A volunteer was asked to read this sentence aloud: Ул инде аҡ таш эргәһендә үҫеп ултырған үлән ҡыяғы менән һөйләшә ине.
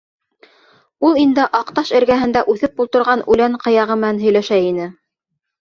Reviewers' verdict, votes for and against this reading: accepted, 3, 0